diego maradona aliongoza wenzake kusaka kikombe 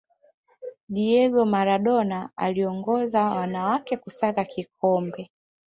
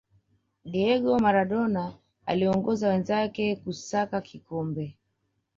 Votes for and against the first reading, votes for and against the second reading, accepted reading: 0, 2, 2, 0, second